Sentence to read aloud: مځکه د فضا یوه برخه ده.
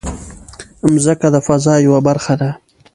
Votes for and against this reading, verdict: 1, 2, rejected